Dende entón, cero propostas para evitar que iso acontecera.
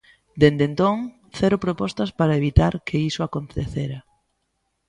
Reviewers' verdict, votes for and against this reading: accepted, 2, 0